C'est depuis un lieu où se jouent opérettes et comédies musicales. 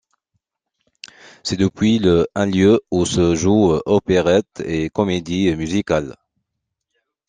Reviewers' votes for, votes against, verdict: 0, 2, rejected